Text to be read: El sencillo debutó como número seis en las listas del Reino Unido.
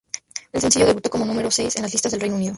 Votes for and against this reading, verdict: 0, 2, rejected